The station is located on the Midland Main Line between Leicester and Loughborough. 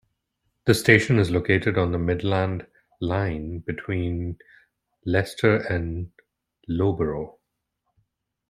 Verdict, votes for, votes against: rejected, 1, 2